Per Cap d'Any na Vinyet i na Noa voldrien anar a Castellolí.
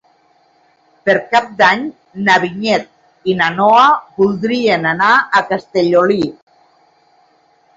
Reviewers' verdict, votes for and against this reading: accepted, 2, 1